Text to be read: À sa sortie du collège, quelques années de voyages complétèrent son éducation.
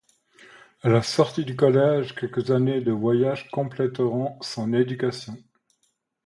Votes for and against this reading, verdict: 0, 2, rejected